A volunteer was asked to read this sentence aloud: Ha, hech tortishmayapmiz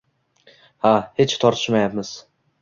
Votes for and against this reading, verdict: 2, 0, accepted